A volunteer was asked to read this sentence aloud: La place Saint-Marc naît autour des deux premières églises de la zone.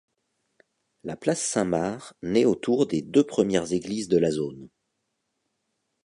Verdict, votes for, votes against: accepted, 2, 0